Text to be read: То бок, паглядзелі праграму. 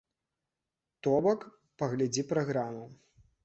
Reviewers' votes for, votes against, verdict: 0, 2, rejected